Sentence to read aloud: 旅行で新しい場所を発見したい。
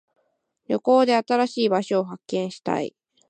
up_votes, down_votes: 2, 1